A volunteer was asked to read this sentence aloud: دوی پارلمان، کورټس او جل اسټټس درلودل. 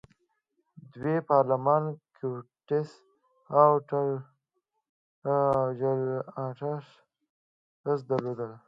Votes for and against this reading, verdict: 2, 3, rejected